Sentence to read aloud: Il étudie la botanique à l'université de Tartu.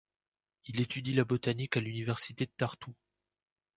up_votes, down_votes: 2, 0